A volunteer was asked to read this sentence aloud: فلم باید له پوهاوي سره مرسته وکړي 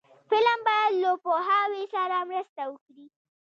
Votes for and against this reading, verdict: 1, 2, rejected